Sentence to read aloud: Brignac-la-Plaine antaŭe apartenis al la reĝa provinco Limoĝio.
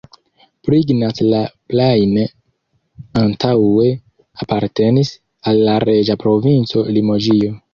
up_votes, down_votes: 1, 2